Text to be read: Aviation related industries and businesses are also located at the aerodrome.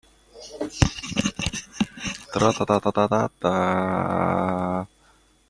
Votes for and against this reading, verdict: 0, 2, rejected